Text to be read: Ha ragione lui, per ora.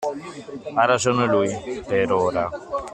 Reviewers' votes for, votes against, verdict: 2, 0, accepted